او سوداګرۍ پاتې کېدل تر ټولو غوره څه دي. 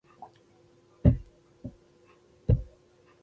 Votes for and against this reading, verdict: 0, 2, rejected